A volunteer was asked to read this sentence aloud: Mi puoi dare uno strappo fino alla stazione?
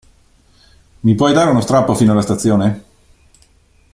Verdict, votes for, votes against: accepted, 2, 0